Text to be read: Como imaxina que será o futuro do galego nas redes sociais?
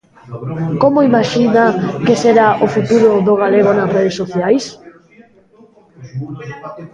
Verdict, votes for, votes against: rejected, 0, 2